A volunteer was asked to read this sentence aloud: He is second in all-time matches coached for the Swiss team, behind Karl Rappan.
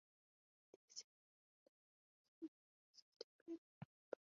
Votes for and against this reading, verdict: 0, 2, rejected